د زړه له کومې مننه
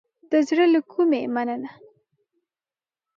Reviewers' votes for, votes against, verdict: 4, 0, accepted